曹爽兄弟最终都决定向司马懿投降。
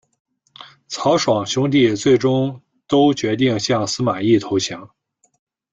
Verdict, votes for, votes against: accepted, 2, 0